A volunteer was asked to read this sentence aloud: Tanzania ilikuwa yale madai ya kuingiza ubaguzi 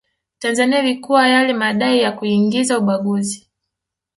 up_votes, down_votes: 4, 0